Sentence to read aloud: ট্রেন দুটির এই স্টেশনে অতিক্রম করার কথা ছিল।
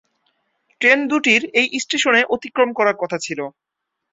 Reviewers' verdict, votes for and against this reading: rejected, 2, 2